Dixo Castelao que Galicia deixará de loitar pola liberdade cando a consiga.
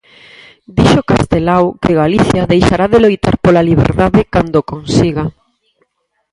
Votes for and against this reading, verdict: 2, 4, rejected